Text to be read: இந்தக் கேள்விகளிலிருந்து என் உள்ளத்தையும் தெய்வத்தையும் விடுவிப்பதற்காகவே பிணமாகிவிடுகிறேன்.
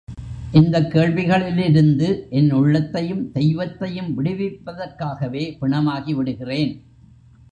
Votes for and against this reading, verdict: 2, 0, accepted